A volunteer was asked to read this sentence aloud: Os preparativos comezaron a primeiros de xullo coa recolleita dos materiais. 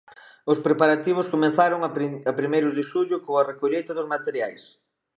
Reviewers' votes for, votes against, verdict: 1, 2, rejected